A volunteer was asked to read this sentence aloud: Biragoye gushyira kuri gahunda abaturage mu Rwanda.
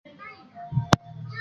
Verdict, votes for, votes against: rejected, 0, 2